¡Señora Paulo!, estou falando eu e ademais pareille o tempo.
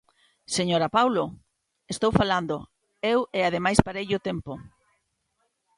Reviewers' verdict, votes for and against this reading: accepted, 3, 0